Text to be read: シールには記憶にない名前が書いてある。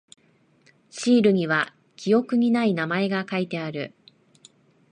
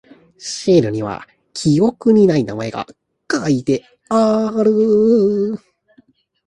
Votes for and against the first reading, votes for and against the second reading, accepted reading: 3, 0, 0, 2, first